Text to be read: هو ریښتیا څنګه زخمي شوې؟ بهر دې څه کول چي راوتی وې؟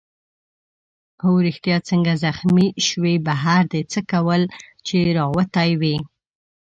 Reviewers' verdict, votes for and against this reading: accepted, 2, 0